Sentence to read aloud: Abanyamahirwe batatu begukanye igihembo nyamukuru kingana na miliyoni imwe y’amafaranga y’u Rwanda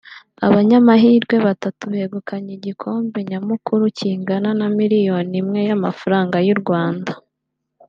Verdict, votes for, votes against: rejected, 1, 2